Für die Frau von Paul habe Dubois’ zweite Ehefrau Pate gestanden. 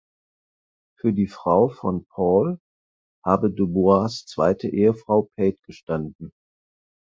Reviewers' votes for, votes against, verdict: 0, 4, rejected